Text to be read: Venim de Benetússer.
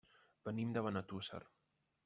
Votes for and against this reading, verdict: 1, 2, rejected